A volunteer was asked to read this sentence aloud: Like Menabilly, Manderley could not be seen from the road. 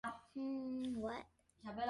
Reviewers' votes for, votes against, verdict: 0, 2, rejected